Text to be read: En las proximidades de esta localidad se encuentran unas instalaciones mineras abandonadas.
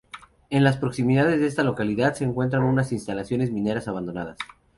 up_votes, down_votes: 0, 2